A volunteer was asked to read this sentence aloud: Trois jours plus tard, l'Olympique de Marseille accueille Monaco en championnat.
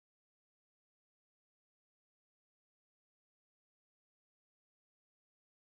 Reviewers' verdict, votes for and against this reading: rejected, 0, 2